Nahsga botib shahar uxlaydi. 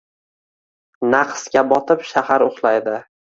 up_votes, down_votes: 2, 1